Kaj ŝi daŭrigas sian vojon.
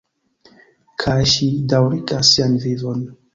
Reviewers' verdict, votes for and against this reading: rejected, 0, 2